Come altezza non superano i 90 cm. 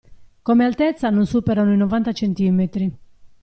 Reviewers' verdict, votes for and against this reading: rejected, 0, 2